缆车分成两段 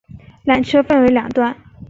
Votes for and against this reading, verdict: 4, 1, accepted